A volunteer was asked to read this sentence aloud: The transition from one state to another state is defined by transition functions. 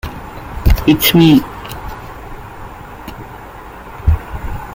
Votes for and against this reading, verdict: 0, 2, rejected